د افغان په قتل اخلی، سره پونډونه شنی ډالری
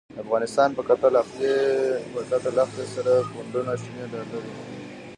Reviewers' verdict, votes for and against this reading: rejected, 0, 2